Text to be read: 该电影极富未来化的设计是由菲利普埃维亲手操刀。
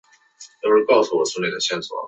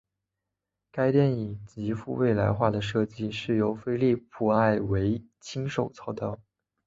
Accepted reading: second